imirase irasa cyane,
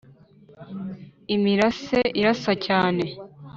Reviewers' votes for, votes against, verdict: 3, 0, accepted